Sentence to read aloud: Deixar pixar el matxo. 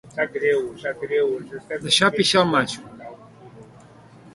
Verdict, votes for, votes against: rejected, 1, 2